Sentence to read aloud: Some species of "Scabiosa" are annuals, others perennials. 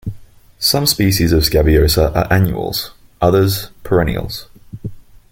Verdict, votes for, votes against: accepted, 2, 0